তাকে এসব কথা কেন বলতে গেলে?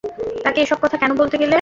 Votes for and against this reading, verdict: 2, 0, accepted